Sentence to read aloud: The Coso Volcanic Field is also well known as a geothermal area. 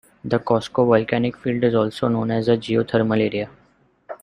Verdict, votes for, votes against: rejected, 1, 2